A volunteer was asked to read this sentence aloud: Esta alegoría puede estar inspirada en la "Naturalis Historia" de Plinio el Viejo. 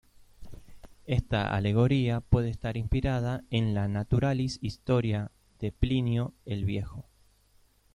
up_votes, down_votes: 2, 0